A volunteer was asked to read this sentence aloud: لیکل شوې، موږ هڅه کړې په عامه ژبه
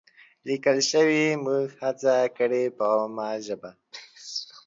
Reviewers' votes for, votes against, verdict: 2, 0, accepted